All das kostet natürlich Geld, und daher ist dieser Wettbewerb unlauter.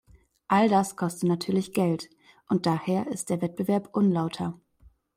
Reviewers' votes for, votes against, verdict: 0, 2, rejected